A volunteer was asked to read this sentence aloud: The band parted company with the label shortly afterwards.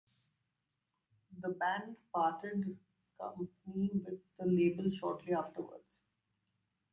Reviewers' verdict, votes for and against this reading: rejected, 1, 2